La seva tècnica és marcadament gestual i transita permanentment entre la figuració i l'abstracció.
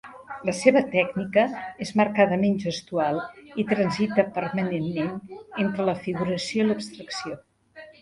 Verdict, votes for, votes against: rejected, 2, 3